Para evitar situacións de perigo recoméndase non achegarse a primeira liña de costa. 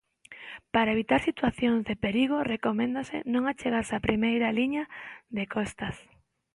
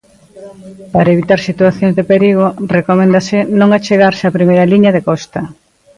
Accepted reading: second